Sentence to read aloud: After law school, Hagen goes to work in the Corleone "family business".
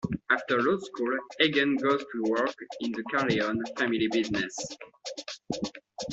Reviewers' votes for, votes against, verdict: 2, 0, accepted